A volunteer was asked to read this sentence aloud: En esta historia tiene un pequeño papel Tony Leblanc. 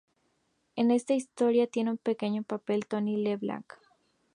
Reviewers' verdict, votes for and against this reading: accepted, 2, 0